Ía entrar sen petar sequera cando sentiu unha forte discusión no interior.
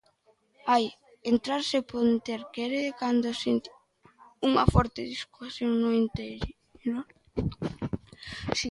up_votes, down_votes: 0, 2